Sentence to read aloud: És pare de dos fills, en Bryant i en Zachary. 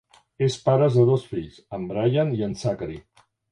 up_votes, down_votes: 2, 0